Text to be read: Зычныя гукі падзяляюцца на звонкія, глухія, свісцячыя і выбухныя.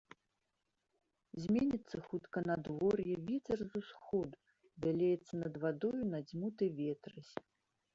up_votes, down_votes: 0, 2